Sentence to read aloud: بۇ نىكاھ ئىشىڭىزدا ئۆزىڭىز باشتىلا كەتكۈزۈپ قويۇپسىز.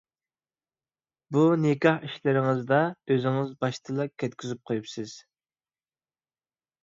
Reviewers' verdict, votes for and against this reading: rejected, 1, 2